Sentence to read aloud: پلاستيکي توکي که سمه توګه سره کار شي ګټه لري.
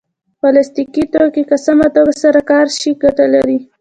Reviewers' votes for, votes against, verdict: 2, 0, accepted